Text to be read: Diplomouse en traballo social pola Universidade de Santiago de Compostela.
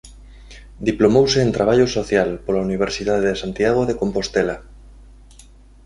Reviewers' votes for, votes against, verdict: 2, 0, accepted